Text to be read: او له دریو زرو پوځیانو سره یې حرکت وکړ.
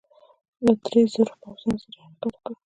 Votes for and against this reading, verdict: 0, 2, rejected